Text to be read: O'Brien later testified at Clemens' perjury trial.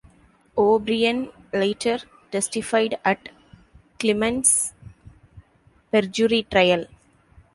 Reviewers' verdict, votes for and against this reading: accepted, 2, 0